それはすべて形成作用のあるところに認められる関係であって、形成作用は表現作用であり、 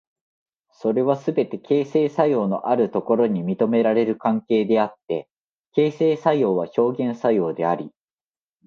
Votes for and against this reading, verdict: 2, 1, accepted